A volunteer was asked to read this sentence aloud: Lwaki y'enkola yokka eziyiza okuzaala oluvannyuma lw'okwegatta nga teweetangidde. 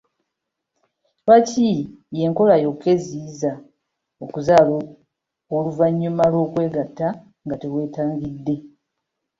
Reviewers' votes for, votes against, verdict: 2, 0, accepted